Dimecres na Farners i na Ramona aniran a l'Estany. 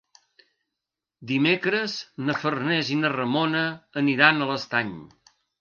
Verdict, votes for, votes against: accepted, 4, 0